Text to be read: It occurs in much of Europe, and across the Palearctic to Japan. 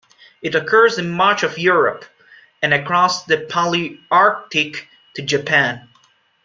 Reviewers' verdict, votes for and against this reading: accepted, 2, 1